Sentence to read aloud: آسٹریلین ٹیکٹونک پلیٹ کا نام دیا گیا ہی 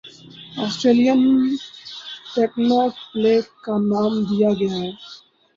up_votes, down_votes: 0, 4